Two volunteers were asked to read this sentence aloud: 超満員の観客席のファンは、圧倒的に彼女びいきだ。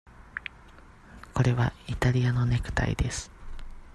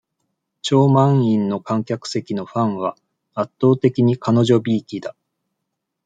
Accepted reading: second